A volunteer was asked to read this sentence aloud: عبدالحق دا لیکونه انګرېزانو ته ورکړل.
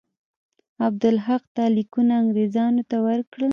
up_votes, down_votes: 2, 0